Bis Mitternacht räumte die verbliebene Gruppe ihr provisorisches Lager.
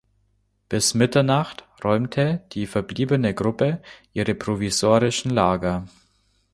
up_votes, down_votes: 0, 2